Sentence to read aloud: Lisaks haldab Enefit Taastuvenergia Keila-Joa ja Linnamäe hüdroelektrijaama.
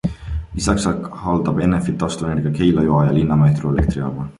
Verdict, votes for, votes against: accepted, 3, 1